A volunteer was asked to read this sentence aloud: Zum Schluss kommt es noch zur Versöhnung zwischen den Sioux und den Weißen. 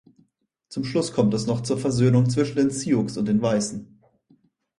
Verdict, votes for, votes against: accepted, 6, 0